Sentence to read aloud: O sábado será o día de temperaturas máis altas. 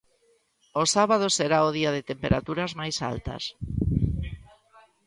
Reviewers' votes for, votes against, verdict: 2, 0, accepted